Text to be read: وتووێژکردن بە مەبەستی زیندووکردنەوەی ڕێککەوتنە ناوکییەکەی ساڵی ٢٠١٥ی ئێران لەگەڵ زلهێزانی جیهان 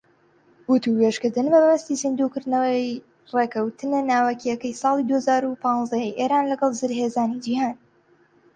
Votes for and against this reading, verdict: 0, 2, rejected